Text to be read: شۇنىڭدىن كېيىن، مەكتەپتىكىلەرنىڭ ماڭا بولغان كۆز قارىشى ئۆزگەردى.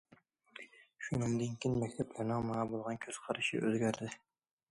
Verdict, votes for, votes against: rejected, 0, 2